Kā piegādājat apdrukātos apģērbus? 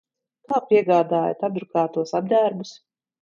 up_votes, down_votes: 2, 1